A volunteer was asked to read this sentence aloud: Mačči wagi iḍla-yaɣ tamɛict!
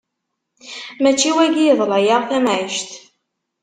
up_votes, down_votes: 2, 0